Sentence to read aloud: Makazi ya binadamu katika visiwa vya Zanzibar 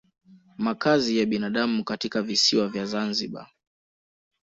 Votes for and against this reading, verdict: 2, 0, accepted